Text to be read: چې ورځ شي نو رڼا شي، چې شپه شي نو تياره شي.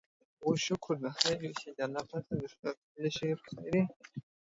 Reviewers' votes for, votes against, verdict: 0, 2, rejected